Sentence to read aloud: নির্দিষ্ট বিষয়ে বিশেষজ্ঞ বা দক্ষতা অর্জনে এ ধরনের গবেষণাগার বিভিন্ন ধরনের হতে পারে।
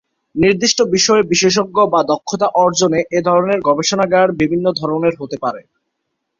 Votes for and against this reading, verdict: 7, 0, accepted